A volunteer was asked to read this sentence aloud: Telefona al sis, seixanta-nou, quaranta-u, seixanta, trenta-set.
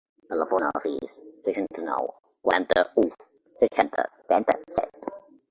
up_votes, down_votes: 2, 0